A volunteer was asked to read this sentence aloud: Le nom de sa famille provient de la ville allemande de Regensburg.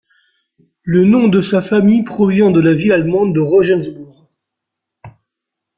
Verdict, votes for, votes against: accepted, 2, 0